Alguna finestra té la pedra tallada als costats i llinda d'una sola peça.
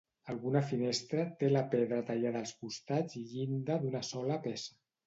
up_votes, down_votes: 1, 2